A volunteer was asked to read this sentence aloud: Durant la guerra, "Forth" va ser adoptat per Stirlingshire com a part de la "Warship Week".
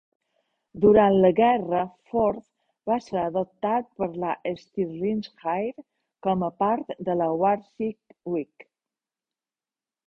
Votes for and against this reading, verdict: 1, 2, rejected